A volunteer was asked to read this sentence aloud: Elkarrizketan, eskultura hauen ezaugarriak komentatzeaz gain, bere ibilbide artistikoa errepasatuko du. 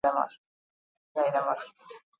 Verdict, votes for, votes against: rejected, 0, 4